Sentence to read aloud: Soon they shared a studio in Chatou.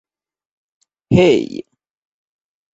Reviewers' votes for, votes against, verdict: 0, 2, rejected